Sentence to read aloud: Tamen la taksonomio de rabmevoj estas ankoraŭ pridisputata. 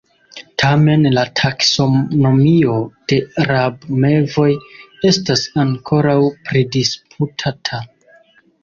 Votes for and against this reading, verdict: 0, 2, rejected